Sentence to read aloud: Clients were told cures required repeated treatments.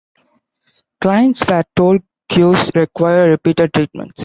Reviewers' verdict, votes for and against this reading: rejected, 1, 2